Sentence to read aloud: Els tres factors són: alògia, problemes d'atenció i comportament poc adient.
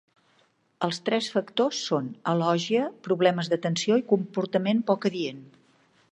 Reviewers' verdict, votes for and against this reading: accepted, 2, 0